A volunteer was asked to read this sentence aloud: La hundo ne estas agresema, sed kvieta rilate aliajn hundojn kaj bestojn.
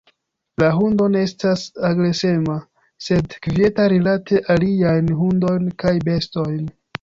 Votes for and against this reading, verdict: 2, 1, accepted